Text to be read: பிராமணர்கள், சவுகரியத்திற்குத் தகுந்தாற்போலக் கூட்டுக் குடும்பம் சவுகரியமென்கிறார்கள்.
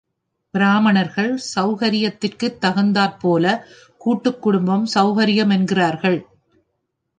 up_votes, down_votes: 2, 0